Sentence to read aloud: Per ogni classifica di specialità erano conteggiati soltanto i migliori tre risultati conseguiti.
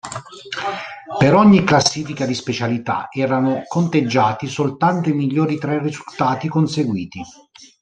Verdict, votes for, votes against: rejected, 1, 2